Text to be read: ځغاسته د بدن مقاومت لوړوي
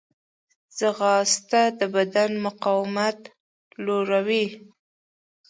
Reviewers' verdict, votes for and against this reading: accepted, 2, 0